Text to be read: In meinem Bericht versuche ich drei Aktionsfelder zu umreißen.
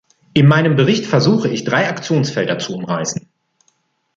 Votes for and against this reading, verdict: 2, 0, accepted